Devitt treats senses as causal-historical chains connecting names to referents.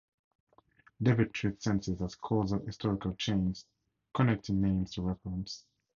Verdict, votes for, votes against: accepted, 4, 0